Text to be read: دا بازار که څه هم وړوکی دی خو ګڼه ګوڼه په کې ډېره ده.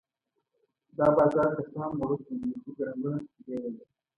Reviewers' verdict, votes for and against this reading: accepted, 2, 0